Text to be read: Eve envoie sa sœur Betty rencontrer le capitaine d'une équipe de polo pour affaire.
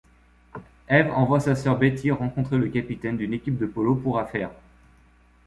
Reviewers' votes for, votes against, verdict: 2, 0, accepted